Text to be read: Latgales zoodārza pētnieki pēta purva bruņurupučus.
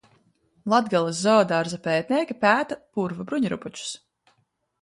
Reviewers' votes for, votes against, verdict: 5, 0, accepted